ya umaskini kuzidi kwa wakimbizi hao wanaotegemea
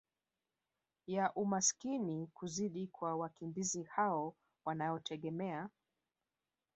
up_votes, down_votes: 2, 0